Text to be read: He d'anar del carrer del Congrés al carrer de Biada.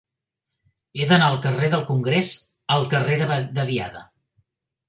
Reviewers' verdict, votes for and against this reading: rejected, 1, 2